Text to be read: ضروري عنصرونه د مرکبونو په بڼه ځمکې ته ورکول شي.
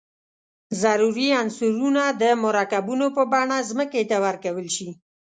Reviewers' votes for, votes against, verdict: 2, 0, accepted